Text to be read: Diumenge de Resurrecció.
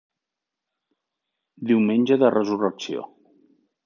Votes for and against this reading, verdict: 3, 1, accepted